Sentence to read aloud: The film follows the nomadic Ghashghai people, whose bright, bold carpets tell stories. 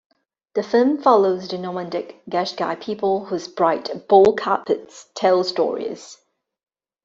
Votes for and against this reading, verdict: 1, 2, rejected